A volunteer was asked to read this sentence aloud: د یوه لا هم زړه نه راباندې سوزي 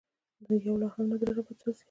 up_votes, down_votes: 2, 1